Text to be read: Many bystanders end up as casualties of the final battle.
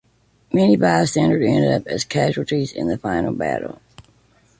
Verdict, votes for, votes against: rejected, 0, 2